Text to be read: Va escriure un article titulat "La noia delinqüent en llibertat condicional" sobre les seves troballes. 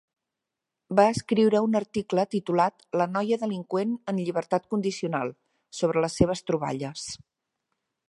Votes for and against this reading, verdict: 3, 0, accepted